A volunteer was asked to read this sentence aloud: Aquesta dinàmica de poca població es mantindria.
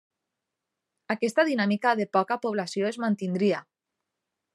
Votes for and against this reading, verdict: 3, 0, accepted